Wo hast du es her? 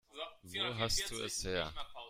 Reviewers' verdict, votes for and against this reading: rejected, 1, 2